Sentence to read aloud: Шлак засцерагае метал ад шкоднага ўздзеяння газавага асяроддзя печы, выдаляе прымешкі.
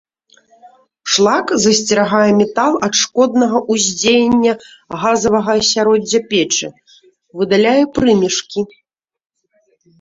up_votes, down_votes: 0, 2